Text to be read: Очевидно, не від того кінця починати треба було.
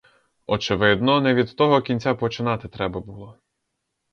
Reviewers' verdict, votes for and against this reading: rejected, 0, 2